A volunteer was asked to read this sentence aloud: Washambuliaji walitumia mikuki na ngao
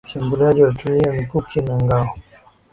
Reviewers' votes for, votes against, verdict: 3, 1, accepted